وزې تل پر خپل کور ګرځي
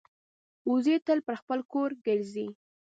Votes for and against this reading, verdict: 2, 0, accepted